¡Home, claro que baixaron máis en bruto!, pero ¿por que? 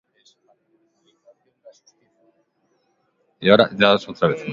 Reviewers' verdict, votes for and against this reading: rejected, 0, 2